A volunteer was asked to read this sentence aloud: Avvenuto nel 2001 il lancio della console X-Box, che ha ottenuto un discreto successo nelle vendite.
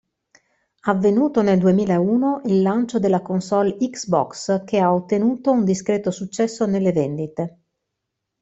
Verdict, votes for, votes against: rejected, 0, 2